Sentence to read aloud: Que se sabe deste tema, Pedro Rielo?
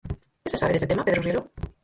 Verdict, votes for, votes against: rejected, 0, 4